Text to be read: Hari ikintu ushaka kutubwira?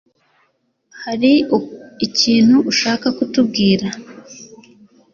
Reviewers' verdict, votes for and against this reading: accepted, 3, 0